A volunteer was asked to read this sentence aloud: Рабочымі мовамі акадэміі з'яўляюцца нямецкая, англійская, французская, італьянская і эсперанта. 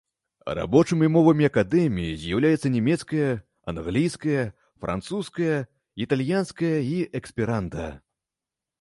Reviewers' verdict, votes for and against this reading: rejected, 1, 2